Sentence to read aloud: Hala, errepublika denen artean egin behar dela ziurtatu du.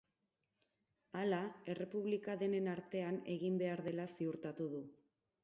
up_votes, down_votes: 4, 0